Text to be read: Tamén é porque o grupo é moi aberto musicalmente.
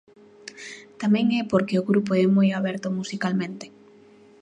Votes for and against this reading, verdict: 2, 0, accepted